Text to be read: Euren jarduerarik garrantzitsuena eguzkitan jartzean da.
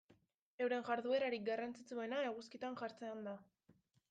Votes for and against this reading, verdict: 1, 2, rejected